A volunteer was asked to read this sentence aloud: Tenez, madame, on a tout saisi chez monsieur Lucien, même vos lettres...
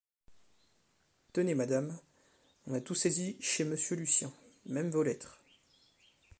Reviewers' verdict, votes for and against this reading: accepted, 2, 0